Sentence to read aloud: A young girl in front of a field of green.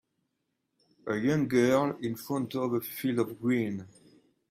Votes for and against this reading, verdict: 2, 1, accepted